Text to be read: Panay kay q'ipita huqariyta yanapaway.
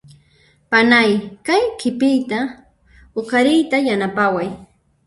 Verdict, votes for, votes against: rejected, 0, 2